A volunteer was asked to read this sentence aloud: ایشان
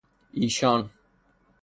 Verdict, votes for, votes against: accepted, 3, 0